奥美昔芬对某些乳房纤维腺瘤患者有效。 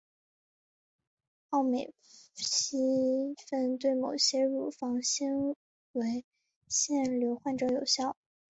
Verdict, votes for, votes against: rejected, 2, 2